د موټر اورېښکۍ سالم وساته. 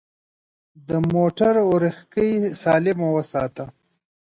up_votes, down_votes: 2, 0